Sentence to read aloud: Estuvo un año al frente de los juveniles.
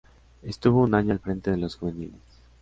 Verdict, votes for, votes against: accepted, 2, 0